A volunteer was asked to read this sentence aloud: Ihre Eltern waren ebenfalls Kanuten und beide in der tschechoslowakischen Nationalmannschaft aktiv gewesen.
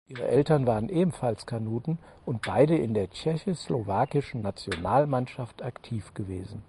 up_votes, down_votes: 4, 0